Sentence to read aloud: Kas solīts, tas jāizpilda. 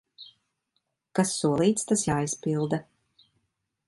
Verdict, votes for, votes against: accepted, 2, 0